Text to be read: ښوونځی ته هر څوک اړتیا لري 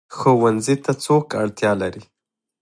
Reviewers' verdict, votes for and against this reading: rejected, 1, 2